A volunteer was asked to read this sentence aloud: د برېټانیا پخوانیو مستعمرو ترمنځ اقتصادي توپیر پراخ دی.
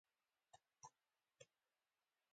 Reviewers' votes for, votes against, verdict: 2, 1, accepted